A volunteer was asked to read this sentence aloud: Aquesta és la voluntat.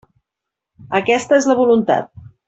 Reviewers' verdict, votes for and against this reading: accepted, 3, 0